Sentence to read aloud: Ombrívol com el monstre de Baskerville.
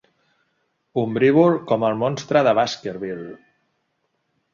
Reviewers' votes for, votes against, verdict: 2, 0, accepted